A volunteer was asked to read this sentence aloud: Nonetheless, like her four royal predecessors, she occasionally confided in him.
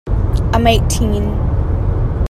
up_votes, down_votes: 1, 2